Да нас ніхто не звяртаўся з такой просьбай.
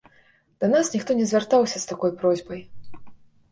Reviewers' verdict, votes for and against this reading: accepted, 2, 0